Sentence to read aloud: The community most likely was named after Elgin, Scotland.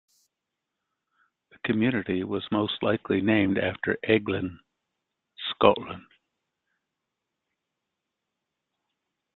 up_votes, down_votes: 0, 2